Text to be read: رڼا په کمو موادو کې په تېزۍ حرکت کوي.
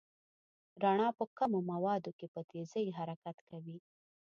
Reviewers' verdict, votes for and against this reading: accepted, 2, 0